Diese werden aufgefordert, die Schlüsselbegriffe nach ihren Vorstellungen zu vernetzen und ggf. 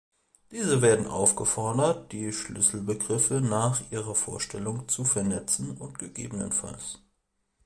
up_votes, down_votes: 0, 2